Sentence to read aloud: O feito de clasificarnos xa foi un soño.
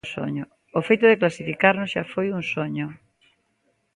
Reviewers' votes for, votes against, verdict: 0, 3, rejected